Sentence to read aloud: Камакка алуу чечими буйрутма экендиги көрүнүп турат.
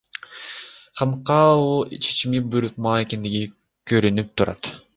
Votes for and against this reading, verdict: 1, 2, rejected